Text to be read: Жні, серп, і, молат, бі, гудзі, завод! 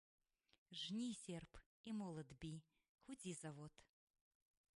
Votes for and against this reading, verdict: 1, 2, rejected